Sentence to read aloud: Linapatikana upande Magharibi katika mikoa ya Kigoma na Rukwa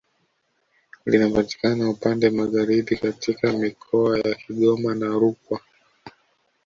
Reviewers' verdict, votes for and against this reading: accepted, 2, 0